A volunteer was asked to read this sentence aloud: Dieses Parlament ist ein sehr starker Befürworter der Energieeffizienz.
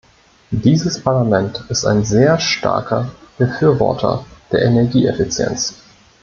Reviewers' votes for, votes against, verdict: 2, 0, accepted